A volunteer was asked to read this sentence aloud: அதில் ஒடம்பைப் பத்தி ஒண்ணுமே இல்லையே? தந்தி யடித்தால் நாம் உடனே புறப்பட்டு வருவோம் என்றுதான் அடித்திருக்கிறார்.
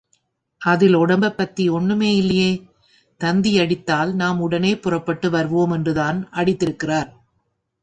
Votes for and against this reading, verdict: 2, 0, accepted